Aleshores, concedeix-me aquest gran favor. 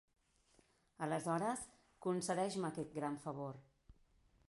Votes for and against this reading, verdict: 4, 0, accepted